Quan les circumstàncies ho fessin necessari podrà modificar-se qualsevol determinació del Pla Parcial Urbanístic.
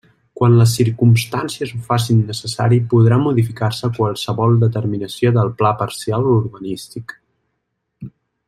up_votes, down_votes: 2, 1